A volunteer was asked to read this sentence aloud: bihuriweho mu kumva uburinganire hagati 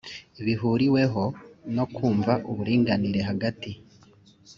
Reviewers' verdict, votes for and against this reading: rejected, 0, 2